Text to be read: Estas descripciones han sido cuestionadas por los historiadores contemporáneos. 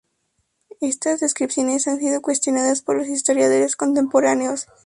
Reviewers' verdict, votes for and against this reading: rejected, 0, 2